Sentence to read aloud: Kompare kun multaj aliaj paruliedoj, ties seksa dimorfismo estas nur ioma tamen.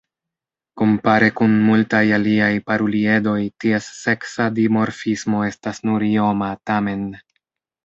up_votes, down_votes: 1, 2